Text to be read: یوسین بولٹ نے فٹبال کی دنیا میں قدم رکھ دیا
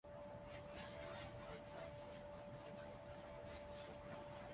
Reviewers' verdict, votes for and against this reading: accepted, 2, 0